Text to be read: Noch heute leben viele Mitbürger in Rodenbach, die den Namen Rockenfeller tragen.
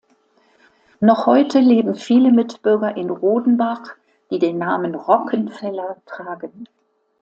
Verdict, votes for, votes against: accepted, 2, 0